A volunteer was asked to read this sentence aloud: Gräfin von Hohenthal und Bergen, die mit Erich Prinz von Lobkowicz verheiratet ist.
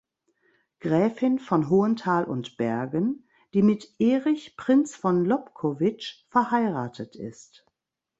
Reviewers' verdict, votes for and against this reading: rejected, 0, 2